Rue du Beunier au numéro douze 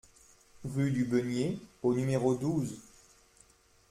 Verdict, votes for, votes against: accepted, 2, 0